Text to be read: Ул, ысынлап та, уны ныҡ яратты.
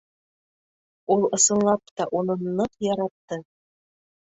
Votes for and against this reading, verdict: 3, 0, accepted